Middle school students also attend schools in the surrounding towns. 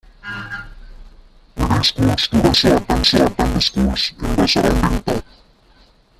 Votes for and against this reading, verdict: 0, 2, rejected